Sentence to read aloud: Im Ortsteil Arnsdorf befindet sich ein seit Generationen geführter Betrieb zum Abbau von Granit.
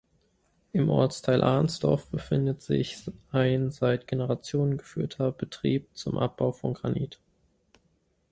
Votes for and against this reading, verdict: 2, 0, accepted